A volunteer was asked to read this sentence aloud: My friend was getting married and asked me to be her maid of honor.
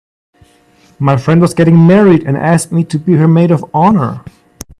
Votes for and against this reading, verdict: 2, 0, accepted